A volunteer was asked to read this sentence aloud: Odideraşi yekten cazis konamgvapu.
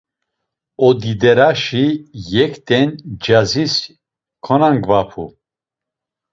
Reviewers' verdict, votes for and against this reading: accepted, 2, 0